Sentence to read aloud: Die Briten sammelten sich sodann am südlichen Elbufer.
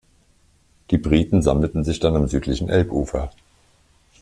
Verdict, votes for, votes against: rejected, 0, 2